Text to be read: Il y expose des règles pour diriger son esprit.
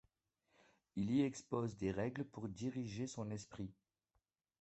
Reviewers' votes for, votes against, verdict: 2, 1, accepted